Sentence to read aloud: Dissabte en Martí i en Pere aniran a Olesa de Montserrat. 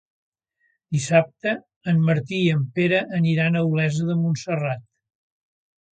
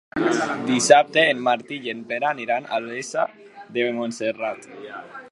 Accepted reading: first